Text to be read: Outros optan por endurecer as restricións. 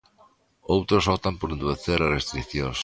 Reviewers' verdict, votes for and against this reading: accepted, 2, 1